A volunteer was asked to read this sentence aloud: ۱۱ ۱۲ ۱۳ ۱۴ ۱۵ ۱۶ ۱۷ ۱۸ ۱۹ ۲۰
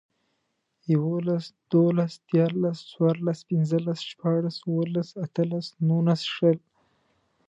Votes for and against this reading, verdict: 0, 2, rejected